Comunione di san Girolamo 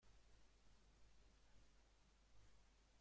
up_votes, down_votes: 0, 2